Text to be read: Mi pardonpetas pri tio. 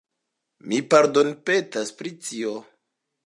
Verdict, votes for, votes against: rejected, 1, 2